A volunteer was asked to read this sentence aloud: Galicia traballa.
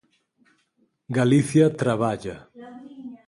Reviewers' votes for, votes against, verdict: 6, 0, accepted